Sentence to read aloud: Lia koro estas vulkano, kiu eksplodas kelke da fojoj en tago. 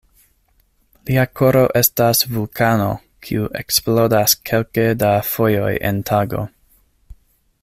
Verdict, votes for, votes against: accepted, 2, 0